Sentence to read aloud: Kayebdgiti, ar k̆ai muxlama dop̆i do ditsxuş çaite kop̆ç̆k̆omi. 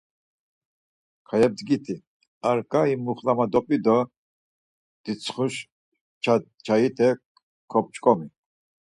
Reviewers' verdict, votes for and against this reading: rejected, 2, 4